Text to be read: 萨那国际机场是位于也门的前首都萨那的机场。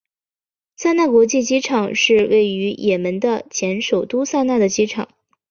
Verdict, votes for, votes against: accepted, 3, 1